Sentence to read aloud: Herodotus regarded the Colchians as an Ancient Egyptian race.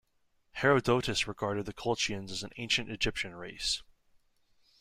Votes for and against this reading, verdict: 2, 1, accepted